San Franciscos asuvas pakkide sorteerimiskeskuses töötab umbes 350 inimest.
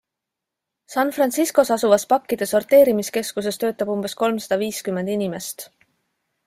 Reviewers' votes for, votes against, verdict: 0, 2, rejected